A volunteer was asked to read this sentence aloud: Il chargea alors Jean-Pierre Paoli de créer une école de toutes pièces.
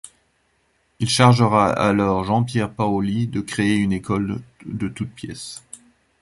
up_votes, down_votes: 1, 2